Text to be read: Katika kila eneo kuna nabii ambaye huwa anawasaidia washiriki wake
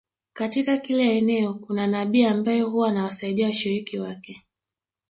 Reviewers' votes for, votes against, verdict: 2, 0, accepted